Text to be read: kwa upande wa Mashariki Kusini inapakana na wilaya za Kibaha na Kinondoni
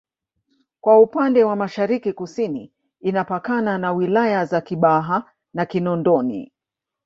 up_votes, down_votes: 4, 0